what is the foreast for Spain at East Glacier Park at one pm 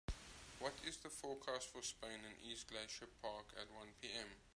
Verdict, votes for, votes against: rejected, 0, 2